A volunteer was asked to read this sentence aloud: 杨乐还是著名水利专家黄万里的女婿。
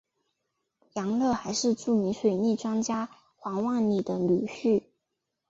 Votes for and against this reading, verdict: 3, 0, accepted